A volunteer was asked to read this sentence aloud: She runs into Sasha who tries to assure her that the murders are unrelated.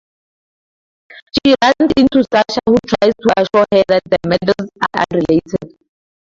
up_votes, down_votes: 2, 4